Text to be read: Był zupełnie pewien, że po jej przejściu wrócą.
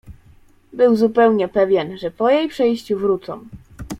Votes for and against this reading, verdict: 2, 0, accepted